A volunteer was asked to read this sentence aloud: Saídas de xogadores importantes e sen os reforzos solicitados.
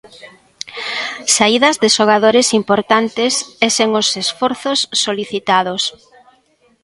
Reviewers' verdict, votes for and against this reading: rejected, 1, 2